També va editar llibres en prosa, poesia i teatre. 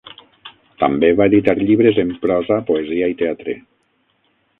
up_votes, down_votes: 3, 6